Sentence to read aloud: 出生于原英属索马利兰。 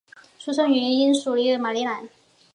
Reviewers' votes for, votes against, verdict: 3, 1, accepted